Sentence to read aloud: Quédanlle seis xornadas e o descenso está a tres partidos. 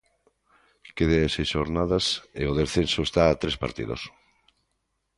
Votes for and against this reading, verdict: 2, 0, accepted